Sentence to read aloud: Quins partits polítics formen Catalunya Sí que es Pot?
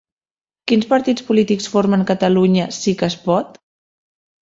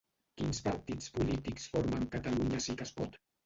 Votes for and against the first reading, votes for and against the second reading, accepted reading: 3, 0, 1, 2, first